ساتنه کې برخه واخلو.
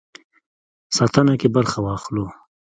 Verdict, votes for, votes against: accepted, 2, 1